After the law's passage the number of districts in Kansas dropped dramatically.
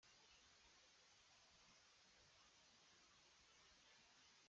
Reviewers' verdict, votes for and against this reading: rejected, 0, 2